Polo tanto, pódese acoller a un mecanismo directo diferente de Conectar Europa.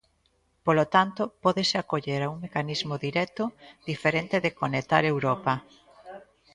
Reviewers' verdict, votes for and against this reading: accepted, 2, 0